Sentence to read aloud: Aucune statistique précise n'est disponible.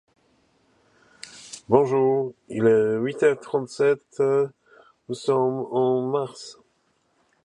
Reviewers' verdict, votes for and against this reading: rejected, 1, 2